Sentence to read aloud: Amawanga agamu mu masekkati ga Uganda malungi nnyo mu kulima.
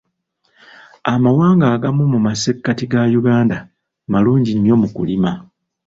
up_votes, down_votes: 2, 1